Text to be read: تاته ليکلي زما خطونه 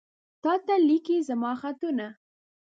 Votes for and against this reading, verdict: 0, 2, rejected